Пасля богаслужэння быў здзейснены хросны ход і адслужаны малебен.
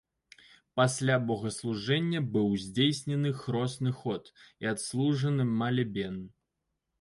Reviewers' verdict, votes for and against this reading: rejected, 0, 2